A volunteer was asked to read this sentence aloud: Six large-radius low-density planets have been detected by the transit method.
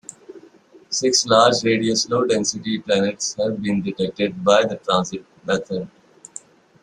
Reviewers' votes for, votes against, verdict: 2, 0, accepted